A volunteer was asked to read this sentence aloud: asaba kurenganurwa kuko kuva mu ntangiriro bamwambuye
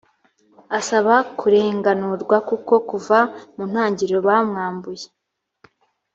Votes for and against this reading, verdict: 2, 0, accepted